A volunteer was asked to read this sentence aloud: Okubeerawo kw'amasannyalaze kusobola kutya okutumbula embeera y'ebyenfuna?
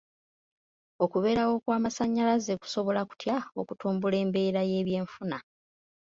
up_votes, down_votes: 2, 0